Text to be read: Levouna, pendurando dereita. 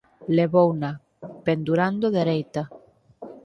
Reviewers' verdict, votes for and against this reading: accepted, 4, 0